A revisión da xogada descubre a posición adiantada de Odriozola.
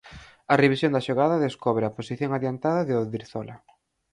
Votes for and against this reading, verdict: 0, 6, rejected